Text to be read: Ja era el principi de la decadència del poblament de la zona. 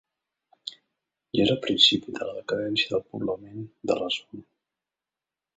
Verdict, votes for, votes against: rejected, 1, 2